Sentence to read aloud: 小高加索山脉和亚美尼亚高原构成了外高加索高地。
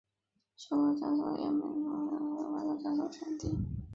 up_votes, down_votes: 0, 4